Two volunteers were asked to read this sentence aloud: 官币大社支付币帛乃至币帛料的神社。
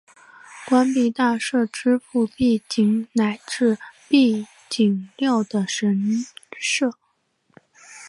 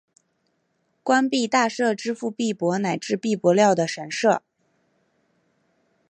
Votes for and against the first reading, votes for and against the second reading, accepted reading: 0, 2, 3, 0, second